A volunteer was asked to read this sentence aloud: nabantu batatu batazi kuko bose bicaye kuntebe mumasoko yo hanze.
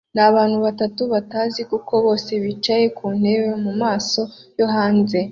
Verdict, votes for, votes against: rejected, 0, 2